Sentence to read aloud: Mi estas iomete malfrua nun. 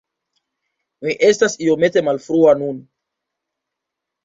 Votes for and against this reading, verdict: 2, 1, accepted